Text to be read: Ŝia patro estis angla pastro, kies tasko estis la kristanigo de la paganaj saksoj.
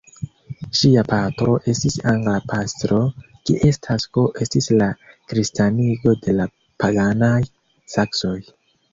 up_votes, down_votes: 1, 2